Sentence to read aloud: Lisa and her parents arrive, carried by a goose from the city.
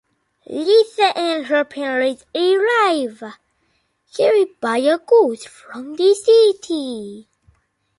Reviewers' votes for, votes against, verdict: 1, 2, rejected